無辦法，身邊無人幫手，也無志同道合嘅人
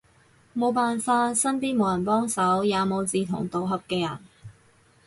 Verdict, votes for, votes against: accepted, 4, 0